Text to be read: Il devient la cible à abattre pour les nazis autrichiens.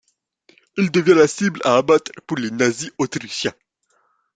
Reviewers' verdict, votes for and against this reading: accepted, 2, 0